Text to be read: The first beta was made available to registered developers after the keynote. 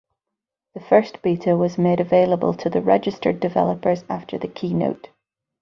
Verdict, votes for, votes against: rejected, 4, 4